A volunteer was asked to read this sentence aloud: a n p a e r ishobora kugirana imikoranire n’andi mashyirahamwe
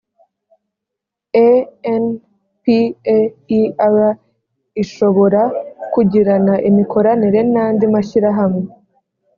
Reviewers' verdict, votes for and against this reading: accepted, 2, 0